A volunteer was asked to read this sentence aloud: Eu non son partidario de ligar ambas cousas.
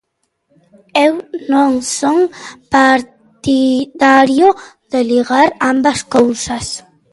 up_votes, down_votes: 2, 0